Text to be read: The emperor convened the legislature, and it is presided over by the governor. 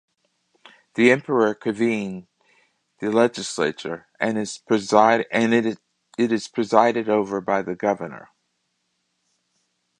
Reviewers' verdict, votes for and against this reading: rejected, 0, 2